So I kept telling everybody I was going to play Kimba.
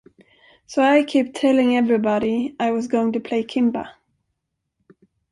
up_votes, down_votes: 3, 1